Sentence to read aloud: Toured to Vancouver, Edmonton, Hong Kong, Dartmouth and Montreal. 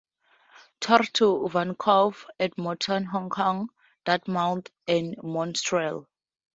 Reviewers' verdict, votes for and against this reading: rejected, 0, 4